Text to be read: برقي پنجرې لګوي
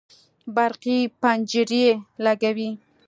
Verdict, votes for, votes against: accepted, 2, 0